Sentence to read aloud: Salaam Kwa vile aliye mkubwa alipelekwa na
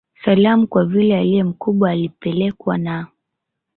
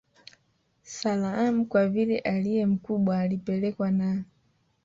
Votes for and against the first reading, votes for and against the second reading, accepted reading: 1, 2, 4, 1, second